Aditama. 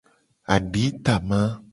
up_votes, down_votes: 2, 0